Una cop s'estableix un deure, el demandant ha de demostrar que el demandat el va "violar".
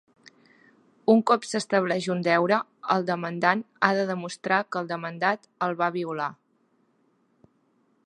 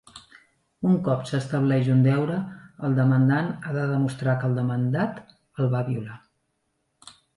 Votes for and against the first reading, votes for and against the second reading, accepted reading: 2, 0, 1, 2, first